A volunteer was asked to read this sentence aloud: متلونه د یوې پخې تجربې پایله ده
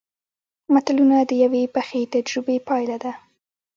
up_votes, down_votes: 1, 2